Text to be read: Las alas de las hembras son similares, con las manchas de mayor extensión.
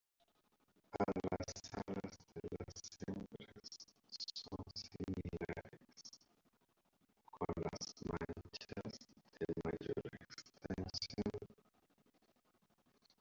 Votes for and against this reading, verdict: 0, 2, rejected